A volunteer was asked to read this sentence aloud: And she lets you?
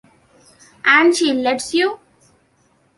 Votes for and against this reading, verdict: 2, 1, accepted